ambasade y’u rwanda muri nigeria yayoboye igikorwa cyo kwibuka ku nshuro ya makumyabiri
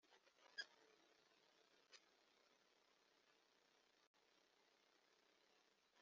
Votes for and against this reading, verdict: 1, 2, rejected